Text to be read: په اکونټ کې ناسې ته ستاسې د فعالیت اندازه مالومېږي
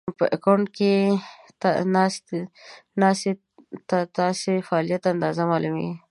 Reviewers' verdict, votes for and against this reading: rejected, 0, 2